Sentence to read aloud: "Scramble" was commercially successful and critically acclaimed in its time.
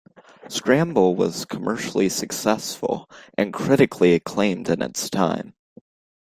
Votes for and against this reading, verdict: 2, 0, accepted